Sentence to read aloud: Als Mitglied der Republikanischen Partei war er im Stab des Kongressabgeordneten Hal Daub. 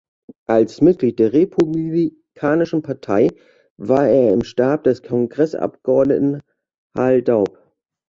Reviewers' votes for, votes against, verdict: 0, 2, rejected